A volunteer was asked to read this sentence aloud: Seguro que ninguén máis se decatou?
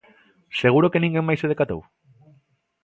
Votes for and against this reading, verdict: 2, 0, accepted